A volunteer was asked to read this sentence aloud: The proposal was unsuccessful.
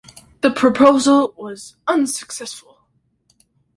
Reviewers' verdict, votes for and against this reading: accepted, 2, 0